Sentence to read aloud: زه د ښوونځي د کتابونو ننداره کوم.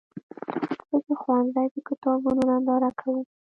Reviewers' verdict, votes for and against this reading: rejected, 1, 2